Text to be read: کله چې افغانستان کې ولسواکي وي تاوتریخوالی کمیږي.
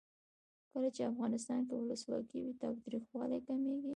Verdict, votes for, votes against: accepted, 2, 1